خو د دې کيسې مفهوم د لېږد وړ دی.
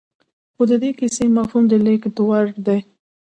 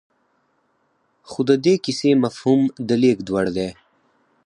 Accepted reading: first